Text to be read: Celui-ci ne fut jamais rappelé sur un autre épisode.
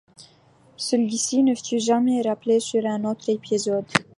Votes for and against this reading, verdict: 2, 0, accepted